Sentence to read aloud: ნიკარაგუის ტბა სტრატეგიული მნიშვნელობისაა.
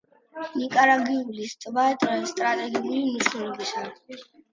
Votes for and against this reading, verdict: 0, 2, rejected